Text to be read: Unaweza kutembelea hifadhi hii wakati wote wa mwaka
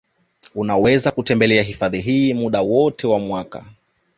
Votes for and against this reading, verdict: 0, 2, rejected